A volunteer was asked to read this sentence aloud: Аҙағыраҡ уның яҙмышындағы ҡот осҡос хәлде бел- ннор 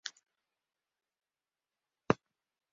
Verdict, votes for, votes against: rejected, 1, 2